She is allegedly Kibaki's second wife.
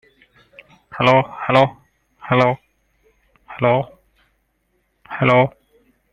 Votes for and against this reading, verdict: 0, 2, rejected